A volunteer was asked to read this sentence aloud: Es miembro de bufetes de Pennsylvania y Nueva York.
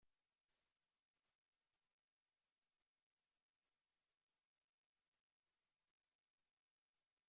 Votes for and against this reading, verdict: 1, 2, rejected